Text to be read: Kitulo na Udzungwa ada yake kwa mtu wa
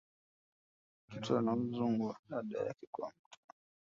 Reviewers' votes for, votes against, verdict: 1, 2, rejected